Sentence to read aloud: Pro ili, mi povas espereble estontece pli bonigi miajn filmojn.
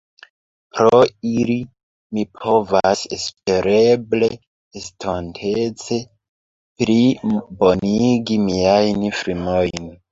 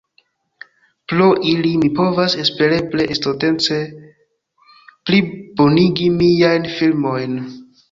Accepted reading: second